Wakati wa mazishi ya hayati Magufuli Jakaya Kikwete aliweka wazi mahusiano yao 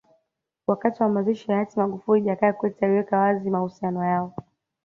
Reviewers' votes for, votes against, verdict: 2, 0, accepted